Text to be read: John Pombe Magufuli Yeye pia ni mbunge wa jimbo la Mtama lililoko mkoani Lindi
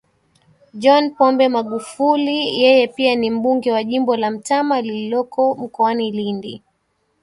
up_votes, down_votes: 2, 0